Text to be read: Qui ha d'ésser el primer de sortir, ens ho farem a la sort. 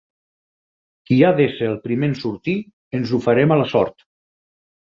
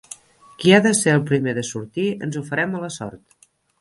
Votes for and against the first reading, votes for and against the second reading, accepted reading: 0, 4, 4, 3, second